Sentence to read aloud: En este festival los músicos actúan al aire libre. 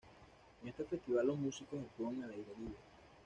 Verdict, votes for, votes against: rejected, 1, 2